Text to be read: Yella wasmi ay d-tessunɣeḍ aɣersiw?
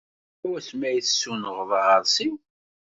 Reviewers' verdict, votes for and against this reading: rejected, 1, 2